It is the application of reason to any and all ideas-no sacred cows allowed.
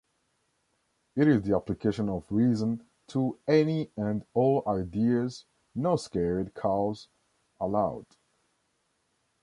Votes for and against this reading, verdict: 0, 2, rejected